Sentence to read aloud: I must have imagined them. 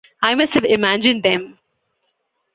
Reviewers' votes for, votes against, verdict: 2, 0, accepted